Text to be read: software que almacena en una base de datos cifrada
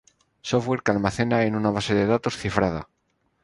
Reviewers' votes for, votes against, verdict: 4, 0, accepted